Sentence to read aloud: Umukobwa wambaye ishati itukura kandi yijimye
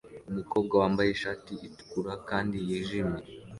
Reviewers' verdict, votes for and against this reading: accepted, 2, 0